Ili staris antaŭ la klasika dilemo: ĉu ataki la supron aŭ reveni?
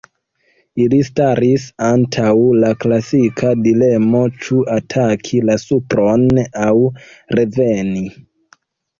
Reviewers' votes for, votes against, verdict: 1, 2, rejected